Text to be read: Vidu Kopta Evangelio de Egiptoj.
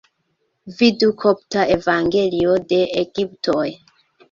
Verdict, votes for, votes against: accepted, 2, 1